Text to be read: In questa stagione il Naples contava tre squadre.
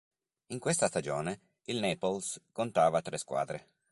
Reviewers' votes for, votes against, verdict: 3, 0, accepted